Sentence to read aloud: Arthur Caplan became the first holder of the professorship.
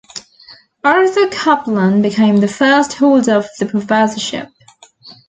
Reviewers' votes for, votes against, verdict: 2, 0, accepted